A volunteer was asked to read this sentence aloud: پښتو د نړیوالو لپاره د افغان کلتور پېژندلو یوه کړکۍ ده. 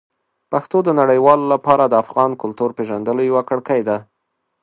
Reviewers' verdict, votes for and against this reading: accepted, 2, 0